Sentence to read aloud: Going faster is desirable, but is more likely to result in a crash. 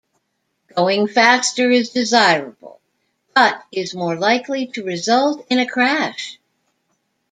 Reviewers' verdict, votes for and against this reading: rejected, 1, 2